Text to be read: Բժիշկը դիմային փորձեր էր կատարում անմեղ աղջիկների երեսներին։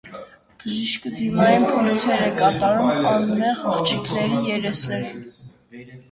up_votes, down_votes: 0, 2